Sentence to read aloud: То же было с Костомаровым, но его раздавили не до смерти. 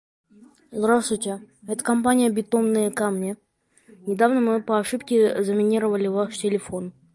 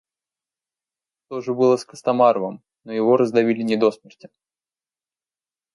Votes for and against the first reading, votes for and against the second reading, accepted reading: 0, 2, 2, 0, second